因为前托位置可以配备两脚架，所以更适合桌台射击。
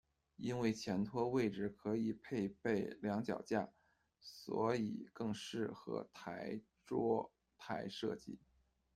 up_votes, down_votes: 0, 2